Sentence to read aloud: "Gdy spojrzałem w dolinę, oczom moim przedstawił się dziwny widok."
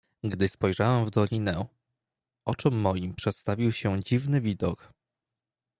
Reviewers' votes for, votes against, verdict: 2, 0, accepted